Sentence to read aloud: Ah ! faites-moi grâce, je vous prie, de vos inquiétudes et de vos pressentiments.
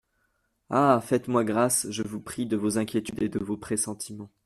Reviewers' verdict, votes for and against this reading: accepted, 2, 0